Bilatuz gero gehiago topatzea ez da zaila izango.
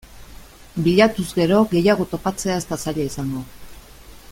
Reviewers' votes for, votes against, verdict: 2, 0, accepted